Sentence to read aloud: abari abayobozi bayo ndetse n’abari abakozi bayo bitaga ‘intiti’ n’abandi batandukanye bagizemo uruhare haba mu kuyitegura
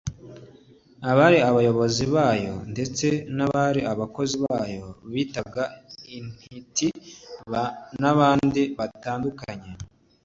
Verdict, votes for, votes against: rejected, 1, 2